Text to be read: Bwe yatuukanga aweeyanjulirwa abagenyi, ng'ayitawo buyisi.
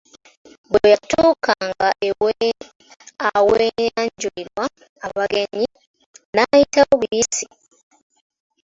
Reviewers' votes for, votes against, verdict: 0, 2, rejected